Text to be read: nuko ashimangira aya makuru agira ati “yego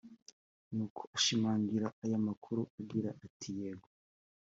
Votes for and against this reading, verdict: 2, 1, accepted